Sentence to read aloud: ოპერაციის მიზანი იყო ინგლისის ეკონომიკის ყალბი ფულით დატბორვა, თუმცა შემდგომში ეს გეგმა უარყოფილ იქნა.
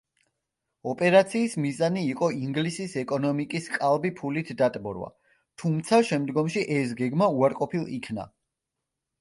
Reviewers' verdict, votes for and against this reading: accepted, 2, 0